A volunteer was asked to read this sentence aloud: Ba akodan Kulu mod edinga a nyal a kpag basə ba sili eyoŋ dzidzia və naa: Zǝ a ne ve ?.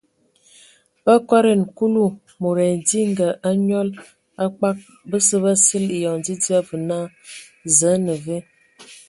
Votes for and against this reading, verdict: 5, 0, accepted